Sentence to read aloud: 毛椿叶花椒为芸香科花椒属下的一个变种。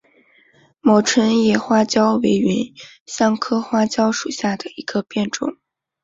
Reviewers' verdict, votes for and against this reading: accepted, 5, 0